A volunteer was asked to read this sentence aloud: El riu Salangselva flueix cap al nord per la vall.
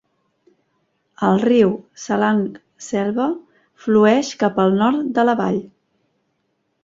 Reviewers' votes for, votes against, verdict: 0, 2, rejected